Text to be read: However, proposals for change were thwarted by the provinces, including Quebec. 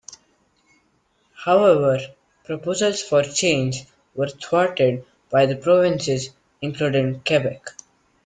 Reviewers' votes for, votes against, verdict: 2, 0, accepted